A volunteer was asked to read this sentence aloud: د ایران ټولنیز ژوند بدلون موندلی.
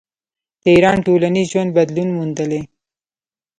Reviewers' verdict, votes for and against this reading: rejected, 1, 2